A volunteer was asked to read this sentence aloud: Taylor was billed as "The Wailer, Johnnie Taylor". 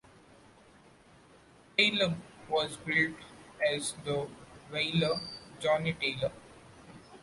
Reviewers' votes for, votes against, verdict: 1, 2, rejected